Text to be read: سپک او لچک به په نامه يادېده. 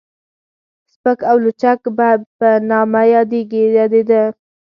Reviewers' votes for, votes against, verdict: 4, 0, accepted